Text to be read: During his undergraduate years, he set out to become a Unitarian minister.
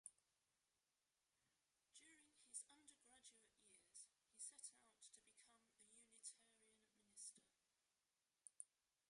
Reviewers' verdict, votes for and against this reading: rejected, 0, 2